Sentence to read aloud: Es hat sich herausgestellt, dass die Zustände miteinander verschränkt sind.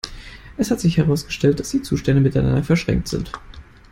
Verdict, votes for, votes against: accepted, 2, 0